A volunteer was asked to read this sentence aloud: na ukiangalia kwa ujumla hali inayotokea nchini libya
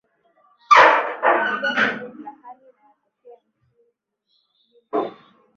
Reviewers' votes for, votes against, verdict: 0, 2, rejected